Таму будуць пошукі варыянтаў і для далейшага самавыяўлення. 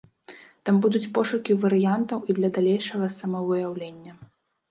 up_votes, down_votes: 1, 2